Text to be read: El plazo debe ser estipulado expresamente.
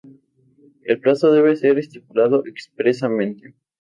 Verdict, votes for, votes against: accepted, 2, 0